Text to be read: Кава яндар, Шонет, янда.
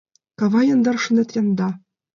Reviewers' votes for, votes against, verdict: 2, 0, accepted